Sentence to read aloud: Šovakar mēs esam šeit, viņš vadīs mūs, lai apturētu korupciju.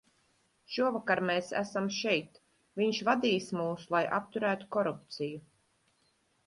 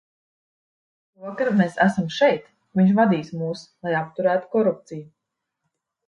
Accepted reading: first